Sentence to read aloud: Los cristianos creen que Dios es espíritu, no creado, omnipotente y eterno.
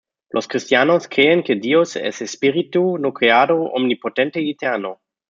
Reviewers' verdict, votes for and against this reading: accepted, 2, 0